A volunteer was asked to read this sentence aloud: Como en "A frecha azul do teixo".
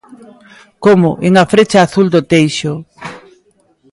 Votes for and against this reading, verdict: 2, 0, accepted